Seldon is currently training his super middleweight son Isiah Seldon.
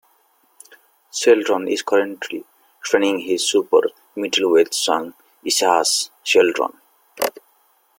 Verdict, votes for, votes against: rejected, 0, 2